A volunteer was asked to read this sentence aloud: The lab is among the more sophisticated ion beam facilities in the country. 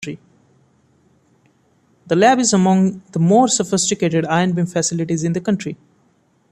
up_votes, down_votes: 1, 2